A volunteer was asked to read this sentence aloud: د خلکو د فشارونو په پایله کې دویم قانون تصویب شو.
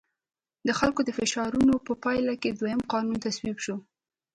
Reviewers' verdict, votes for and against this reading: rejected, 1, 2